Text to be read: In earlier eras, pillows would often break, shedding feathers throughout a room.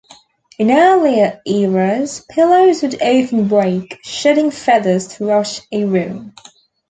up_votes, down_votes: 2, 1